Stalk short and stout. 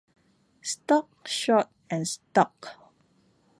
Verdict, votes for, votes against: rejected, 0, 2